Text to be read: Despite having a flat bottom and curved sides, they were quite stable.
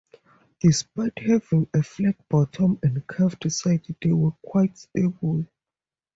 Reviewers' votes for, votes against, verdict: 0, 2, rejected